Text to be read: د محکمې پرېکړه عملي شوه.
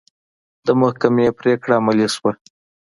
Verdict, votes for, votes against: accepted, 2, 0